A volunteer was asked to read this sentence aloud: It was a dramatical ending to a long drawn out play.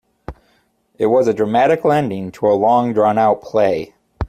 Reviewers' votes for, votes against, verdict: 2, 0, accepted